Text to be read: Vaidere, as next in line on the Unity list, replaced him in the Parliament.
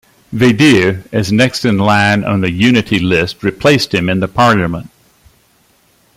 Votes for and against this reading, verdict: 2, 0, accepted